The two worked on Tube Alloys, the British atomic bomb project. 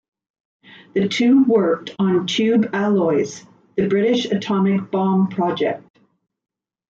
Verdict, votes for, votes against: accepted, 2, 1